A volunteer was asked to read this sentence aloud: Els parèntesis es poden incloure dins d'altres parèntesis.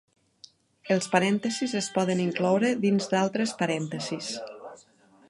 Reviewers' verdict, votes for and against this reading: rejected, 0, 2